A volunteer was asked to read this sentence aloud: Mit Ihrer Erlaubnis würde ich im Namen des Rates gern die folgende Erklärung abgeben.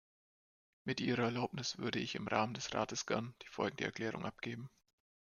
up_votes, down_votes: 0, 2